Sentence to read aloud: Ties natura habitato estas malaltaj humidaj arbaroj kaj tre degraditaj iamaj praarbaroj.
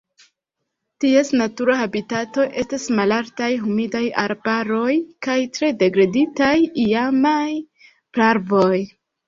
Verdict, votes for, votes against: rejected, 1, 2